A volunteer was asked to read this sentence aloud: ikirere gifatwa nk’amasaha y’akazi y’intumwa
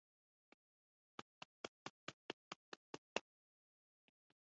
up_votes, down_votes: 0, 2